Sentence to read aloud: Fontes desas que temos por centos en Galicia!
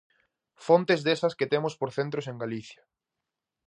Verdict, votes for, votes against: rejected, 0, 2